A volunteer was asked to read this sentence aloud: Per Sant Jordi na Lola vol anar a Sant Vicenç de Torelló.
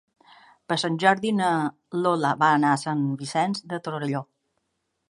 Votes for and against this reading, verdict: 1, 2, rejected